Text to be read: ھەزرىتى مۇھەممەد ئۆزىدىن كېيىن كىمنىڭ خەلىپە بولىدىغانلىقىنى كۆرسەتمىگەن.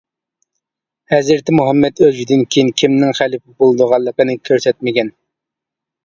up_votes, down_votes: 2, 0